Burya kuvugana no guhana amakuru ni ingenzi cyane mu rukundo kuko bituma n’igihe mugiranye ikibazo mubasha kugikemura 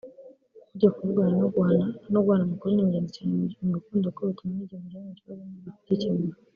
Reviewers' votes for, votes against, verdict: 0, 2, rejected